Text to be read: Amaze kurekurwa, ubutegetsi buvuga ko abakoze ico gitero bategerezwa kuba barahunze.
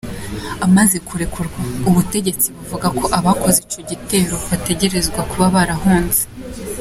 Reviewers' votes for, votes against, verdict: 2, 0, accepted